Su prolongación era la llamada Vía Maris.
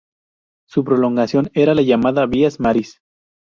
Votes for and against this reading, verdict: 0, 4, rejected